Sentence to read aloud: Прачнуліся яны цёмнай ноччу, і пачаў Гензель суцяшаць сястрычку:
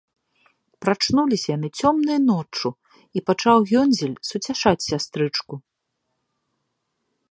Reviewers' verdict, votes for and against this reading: rejected, 1, 2